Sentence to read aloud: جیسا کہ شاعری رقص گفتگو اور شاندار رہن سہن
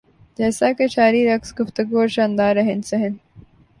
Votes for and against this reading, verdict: 3, 0, accepted